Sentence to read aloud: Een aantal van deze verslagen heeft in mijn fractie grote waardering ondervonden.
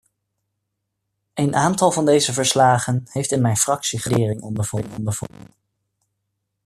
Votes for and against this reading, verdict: 0, 2, rejected